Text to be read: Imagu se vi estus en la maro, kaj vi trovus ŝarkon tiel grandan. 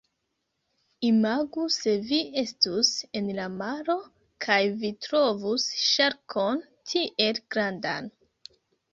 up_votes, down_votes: 2, 0